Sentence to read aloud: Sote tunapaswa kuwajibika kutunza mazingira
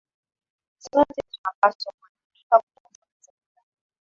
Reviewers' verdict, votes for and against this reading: rejected, 0, 2